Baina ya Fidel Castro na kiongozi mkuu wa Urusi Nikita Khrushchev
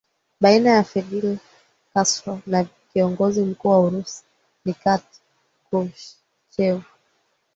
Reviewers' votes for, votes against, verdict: 3, 5, rejected